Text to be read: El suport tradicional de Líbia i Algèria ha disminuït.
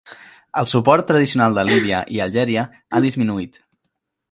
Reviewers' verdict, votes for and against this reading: rejected, 1, 2